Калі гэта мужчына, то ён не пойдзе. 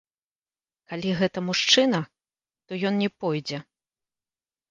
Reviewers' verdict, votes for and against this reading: rejected, 1, 2